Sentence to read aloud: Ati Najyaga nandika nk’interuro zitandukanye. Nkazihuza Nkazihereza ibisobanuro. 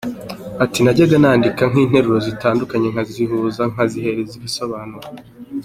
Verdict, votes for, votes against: accepted, 2, 0